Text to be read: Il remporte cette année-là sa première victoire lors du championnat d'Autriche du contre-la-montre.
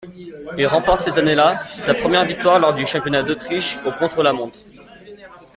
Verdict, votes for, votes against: rejected, 1, 2